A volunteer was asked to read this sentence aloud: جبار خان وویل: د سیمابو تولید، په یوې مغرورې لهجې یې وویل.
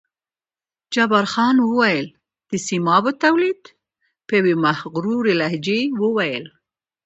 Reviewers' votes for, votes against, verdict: 2, 0, accepted